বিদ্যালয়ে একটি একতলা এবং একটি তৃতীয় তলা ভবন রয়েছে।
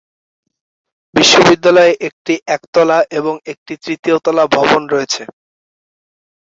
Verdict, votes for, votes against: rejected, 1, 5